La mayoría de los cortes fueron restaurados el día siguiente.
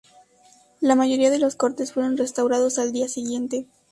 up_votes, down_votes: 0, 2